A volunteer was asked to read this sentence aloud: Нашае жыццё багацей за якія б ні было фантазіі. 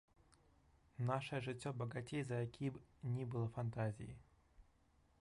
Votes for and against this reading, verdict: 0, 2, rejected